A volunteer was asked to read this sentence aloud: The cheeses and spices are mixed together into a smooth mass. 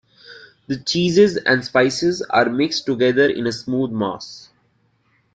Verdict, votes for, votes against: accepted, 2, 1